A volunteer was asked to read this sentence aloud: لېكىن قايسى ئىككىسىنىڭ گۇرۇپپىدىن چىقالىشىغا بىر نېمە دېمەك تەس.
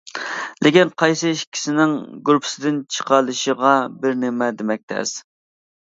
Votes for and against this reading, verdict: 0, 2, rejected